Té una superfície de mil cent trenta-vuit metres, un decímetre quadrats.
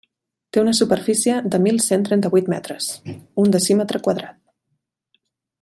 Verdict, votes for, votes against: rejected, 1, 2